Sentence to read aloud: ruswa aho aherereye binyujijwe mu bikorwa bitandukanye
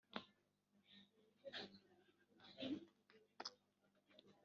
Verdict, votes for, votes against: rejected, 1, 2